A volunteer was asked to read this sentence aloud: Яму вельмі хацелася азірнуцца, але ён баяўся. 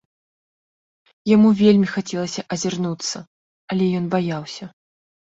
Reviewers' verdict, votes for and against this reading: accepted, 3, 0